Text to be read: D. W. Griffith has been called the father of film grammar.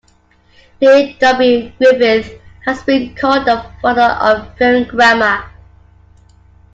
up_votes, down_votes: 1, 2